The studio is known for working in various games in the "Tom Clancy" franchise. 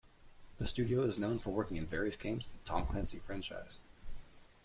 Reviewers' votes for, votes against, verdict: 2, 0, accepted